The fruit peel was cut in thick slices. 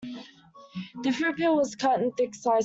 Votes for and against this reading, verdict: 0, 2, rejected